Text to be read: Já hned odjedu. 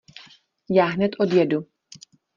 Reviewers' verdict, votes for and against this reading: accepted, 2, 0